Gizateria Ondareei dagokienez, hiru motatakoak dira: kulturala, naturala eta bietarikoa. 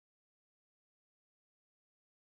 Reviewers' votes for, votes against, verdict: 0, 2, rejected